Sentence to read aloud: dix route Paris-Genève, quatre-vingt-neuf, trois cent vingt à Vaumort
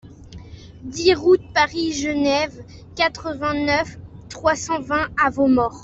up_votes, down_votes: 2, 0